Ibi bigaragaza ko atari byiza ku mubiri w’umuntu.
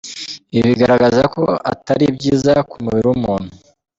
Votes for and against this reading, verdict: 3, 0, accepted